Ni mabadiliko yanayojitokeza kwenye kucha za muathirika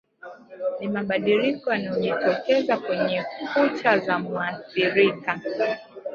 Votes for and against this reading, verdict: 2, 0, accepted